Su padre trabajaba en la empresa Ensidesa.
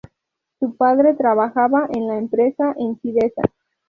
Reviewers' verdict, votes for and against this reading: rejected, 2, 2